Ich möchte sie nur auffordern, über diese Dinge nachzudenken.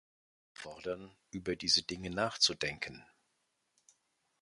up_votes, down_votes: 0, 2